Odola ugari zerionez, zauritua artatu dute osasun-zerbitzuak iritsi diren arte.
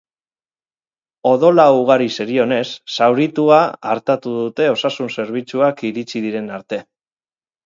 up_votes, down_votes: 4, 0